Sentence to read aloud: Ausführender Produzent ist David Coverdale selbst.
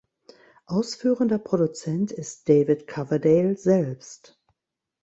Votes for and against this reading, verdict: 2, 0, accepted